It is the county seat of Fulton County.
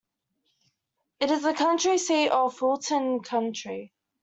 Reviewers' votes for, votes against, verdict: 0, 2, rejected